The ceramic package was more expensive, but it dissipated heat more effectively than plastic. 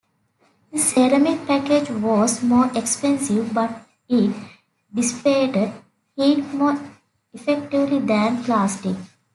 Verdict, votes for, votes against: accepted, 2, 1